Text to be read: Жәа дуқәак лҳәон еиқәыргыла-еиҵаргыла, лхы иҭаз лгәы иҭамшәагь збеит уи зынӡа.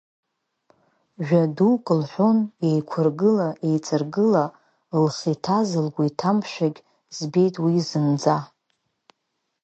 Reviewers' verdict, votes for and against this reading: rejected, 0, 2